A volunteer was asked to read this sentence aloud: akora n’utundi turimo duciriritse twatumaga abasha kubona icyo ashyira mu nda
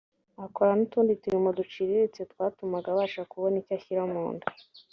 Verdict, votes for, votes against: accepted, 3, 0